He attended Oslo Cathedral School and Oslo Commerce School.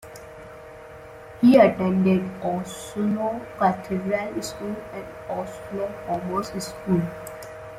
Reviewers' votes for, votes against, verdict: 0, 2, rejected